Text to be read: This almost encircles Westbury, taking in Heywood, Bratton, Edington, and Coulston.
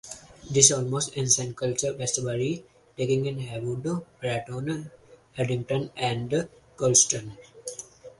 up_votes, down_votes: 0, 4